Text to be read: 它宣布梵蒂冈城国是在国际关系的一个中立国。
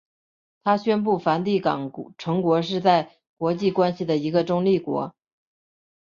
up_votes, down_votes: 0, 2